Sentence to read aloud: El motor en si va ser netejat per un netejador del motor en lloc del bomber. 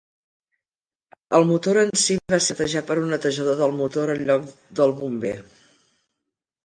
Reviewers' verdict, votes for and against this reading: rejected, 0, 2